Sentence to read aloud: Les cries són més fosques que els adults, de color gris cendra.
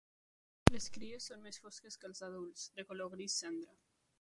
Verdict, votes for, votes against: rejected, 2, 3